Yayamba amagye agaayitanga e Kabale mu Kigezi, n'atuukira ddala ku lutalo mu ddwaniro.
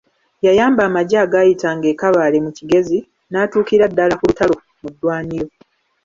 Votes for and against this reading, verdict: 0, 2, rejected